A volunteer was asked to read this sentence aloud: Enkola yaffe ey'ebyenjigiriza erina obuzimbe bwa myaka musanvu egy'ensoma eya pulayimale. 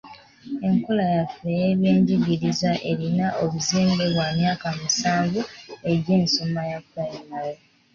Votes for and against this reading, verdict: 3, 1, accepted